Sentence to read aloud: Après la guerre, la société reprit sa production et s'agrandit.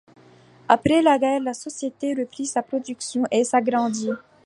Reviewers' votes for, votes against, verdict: 2, 0, accepted